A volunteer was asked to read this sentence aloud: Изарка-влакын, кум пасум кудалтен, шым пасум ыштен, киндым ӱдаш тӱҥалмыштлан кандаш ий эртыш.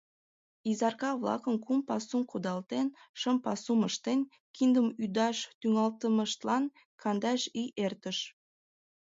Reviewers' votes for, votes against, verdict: 0, 2, rejected